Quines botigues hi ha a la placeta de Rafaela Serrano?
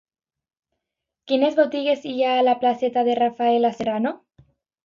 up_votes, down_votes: 2, 0